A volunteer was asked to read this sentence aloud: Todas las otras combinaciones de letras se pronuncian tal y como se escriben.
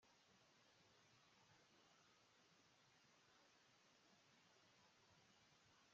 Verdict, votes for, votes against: rejected, 1, 2